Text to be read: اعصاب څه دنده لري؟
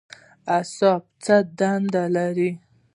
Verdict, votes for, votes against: rejected, 1, 2